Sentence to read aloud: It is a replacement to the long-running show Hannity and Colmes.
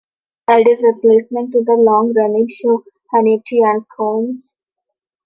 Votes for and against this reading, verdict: 0, 2, rejected